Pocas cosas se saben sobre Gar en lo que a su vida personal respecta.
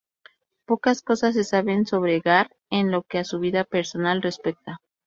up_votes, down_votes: 2, 2